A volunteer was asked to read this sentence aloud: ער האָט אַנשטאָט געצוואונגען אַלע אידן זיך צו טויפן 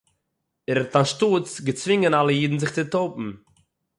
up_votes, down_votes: 0, 6